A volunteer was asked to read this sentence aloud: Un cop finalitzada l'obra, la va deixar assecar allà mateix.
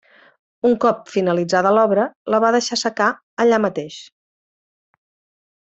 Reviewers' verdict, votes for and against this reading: accepted, 2, 0